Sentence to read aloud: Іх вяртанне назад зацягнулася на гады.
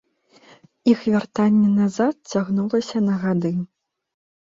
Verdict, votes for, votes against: rejected, 1, 2